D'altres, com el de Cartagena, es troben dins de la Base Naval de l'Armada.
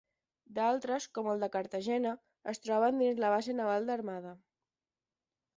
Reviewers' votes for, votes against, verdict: 5, 10, rejected